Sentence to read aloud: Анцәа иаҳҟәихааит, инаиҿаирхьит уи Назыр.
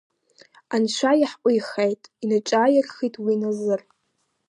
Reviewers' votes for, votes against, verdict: 1, 2, rejected